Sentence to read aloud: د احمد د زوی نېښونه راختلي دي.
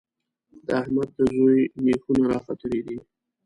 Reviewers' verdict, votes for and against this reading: rejected, 1, 2